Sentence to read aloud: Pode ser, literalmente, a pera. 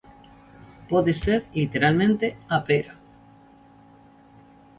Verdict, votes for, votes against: accepted, 2, 0